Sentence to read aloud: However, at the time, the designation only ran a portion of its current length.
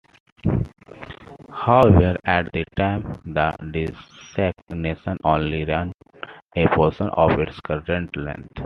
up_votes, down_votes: 0, 2